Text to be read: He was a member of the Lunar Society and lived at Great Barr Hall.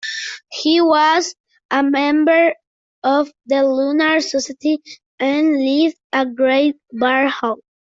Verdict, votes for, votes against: rejected, 0, 2